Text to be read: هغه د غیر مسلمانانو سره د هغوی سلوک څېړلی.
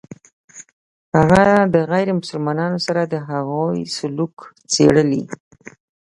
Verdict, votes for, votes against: accepted, 2, 0